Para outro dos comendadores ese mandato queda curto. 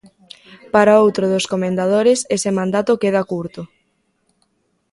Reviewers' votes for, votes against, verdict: 2, 0, accepted